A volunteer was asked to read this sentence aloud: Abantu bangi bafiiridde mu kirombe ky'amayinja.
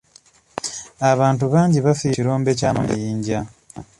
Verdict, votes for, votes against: rejected, 1, 2